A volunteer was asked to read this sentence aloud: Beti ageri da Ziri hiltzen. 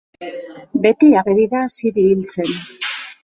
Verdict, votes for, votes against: accepted, 2, 0